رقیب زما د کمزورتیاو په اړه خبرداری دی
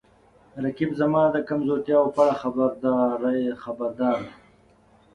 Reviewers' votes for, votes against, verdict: 2, 3, rejected